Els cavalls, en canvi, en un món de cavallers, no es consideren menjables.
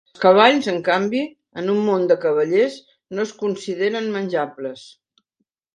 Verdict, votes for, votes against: rejected, 1, 2